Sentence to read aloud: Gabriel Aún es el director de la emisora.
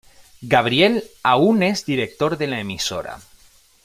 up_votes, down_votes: 1, 2